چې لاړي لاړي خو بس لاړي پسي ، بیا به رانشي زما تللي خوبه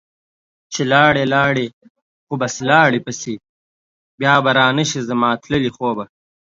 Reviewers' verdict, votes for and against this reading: accepted, 2, 0